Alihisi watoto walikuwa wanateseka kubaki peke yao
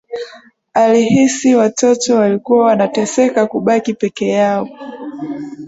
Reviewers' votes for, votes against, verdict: 2, 0, accepted